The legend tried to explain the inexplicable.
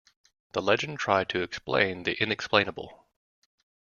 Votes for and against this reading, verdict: 1, 2, rejected